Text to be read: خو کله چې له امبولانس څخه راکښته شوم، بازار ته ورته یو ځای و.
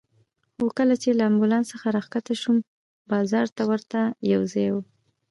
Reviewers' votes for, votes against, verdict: 1, 2, rejected